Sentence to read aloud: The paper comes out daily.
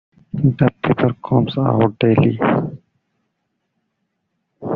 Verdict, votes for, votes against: rejected, 0, 2